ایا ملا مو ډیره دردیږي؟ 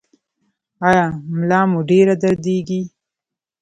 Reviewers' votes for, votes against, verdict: 0, 2, rejected